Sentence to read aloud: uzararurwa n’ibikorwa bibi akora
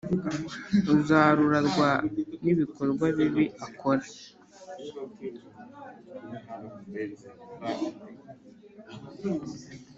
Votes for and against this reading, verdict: 0, 2, rejected